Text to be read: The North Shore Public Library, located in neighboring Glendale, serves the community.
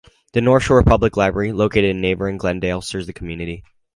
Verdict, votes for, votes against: accepted, 4, 0